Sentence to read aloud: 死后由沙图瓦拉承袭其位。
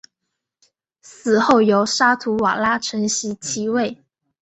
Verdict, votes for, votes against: accepted, 10, 0